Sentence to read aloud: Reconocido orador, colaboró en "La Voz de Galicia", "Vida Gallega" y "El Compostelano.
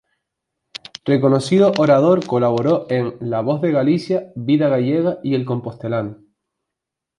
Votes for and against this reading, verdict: 2, 0, accepted